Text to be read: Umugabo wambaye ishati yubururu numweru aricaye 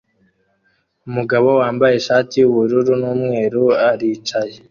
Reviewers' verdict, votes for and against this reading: accepted, 2, 0